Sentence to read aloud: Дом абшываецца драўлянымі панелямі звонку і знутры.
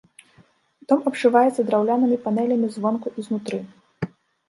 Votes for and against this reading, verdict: 2, 0, accepted